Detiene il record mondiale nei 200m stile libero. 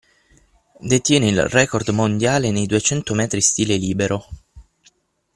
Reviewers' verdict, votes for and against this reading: rejected, 0, 2